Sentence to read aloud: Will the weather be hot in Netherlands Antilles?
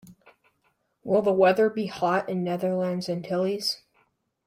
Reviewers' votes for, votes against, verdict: 2, 0, accepted